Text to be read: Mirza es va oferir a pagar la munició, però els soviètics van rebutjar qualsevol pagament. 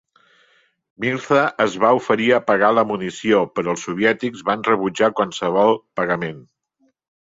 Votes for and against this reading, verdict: 0, 2, rejected